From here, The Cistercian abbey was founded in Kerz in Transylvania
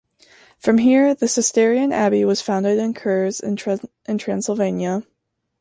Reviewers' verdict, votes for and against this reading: rejected, 1, 2